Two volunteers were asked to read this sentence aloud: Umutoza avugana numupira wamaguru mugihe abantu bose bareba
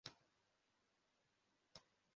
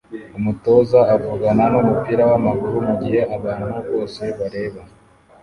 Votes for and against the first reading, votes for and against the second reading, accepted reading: 0, 2, 2, 0, second